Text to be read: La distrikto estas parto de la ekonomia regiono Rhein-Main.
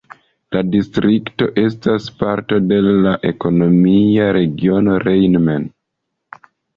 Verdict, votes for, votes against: accepted, 2, 0